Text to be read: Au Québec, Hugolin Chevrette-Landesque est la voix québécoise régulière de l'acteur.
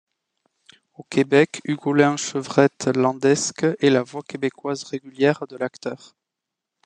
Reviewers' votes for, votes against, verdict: 2, 0, accepted